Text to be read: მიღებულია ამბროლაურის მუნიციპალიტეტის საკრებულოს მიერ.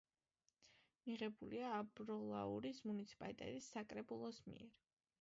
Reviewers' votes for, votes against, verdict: 2, 1, accepted